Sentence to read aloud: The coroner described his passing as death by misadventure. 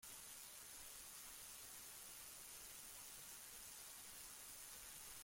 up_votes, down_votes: 1, 2